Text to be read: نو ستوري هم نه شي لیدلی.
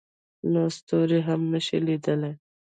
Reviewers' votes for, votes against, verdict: 2, 1, accepted